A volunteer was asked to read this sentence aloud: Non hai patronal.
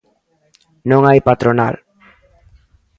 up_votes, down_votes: 1, 2